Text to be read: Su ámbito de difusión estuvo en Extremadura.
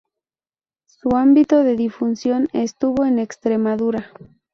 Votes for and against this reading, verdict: 0, 2, rejected